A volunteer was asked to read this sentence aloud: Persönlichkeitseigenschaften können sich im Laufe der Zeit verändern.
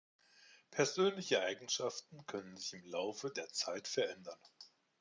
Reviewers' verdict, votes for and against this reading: rejected, 1, 2